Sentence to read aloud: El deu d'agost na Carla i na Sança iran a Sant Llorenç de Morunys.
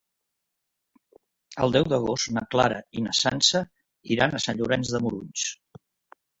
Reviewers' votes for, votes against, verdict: 2, 1, accepted